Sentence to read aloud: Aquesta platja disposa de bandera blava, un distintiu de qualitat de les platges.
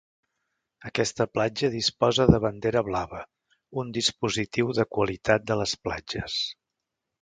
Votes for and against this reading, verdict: 2, 3, rejected